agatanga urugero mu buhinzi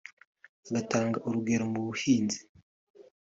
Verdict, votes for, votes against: accepted, 2, 0